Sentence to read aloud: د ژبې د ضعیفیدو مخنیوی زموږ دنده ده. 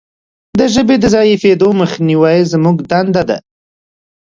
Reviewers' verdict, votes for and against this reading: accepted, 2, 0